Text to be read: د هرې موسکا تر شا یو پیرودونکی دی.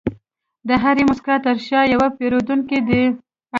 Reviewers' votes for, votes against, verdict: 2, 0, accepted